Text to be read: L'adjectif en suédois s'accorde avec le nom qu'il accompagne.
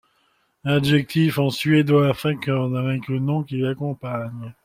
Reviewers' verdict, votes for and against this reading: rejected, 1, 2